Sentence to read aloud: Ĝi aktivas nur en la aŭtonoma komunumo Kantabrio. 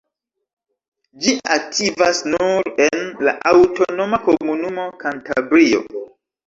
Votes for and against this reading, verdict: 1, 2, rejected